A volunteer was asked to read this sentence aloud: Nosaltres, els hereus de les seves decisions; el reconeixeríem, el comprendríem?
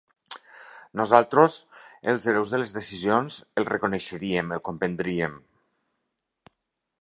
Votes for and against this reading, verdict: 1, 2, rejected